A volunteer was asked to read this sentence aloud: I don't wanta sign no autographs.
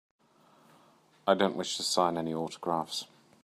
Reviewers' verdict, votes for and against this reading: rejected, 0, 2